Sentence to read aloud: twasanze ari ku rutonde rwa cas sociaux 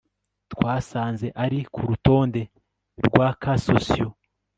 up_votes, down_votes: 2, 0